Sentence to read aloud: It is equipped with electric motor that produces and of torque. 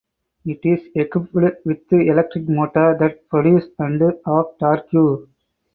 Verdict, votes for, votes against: rejected, 0, 4